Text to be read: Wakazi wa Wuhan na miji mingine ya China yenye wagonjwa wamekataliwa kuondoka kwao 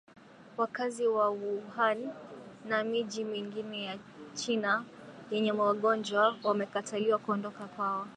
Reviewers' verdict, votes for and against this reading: accepted, 2, 0